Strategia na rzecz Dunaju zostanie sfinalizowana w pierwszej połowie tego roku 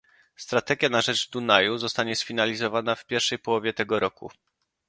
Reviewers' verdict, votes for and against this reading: accepted, 2, 0